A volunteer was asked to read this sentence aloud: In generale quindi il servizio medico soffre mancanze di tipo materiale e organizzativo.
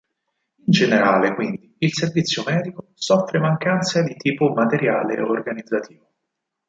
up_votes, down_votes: 4, 0